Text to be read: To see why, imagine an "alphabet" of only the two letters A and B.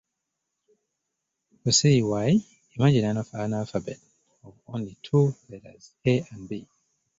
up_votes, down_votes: 0, 2